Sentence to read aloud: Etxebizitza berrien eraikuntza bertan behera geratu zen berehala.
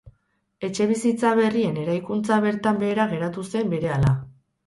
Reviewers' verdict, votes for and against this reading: accepted, 4, 0